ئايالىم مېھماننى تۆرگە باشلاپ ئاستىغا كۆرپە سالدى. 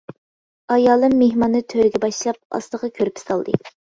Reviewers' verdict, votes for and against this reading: accepted, 2, 0